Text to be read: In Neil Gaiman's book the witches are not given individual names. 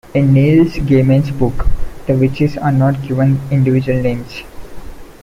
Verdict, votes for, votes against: rejected, 0, 2